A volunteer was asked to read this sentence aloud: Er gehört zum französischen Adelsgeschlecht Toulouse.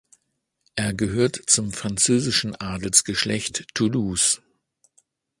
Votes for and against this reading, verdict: 2, 0, accepted